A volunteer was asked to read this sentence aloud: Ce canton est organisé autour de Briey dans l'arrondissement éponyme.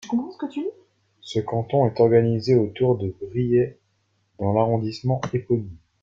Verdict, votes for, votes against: rejected, 1, 2